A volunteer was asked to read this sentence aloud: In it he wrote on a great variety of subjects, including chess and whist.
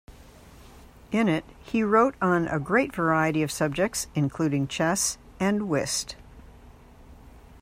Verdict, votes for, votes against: accepted, 2, 0